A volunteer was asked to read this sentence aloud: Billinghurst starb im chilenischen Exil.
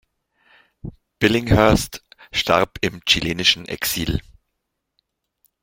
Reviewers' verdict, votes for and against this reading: accepted, 2, 0